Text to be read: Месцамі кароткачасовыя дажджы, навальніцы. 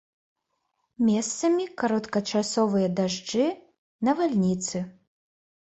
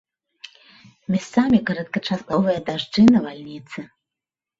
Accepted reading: first